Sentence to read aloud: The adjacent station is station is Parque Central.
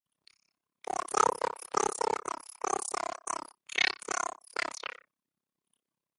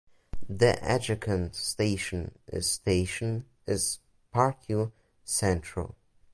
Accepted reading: second